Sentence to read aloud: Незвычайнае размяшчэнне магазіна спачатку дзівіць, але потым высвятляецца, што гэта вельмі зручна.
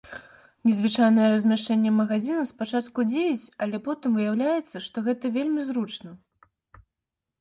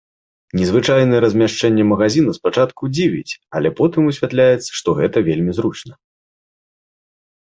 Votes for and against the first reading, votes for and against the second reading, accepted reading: 0, 2, 2, 0, second